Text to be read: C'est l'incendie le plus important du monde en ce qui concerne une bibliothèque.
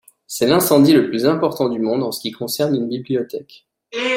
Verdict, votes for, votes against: accepted, 2, 0